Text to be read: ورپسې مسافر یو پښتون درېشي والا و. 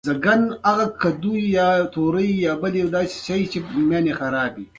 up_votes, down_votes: 1, 2